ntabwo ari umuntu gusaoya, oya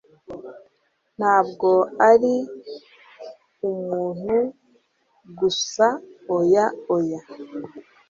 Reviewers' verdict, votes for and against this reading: accepted, 3, 0